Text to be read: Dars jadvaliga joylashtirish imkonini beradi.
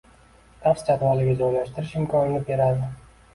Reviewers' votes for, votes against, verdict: 2, 0, accepted